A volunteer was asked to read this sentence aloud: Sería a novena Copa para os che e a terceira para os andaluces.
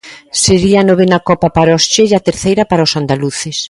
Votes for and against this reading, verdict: 2, 0, accepted